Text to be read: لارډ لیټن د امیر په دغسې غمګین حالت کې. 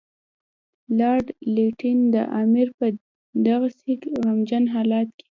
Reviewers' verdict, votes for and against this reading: accepted, 2, 0